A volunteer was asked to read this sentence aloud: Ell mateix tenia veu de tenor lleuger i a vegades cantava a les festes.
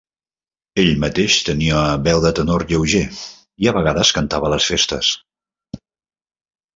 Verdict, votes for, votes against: accepted, 3, 0